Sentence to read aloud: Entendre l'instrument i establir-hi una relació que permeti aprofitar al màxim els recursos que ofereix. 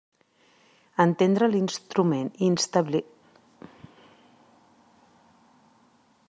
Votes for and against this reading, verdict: 0, 2, rejected